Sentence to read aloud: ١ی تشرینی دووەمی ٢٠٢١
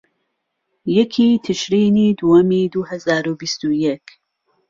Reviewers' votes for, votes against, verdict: 0, 2, rejected